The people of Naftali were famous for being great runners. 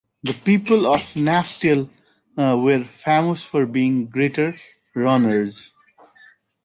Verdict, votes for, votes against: rejected, 1, 2